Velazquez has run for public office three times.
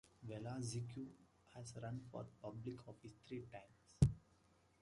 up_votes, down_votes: 0, 2